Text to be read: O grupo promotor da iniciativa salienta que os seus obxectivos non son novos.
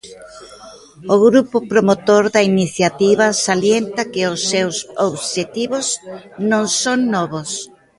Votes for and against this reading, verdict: 0, 2, rejected